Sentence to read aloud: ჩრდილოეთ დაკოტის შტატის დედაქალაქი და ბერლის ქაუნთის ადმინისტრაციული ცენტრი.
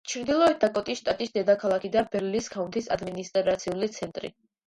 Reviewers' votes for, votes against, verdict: 2, 0, accepted